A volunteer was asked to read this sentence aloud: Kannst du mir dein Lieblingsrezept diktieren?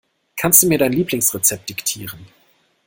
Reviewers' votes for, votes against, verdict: 2, 0, accepted